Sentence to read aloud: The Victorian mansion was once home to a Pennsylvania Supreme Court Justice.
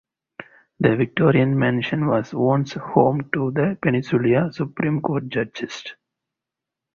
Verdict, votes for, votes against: rejected, 0, 2